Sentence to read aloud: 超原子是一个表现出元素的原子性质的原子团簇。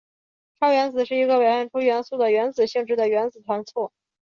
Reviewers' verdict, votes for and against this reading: accepted, 2, 0